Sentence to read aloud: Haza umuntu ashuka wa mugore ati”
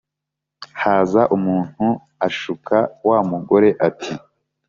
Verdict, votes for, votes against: accepted, 2, 0